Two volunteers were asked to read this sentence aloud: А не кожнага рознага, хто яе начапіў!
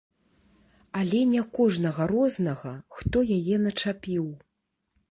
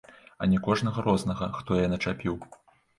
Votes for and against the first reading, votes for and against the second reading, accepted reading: 1, 3, 2, 1, second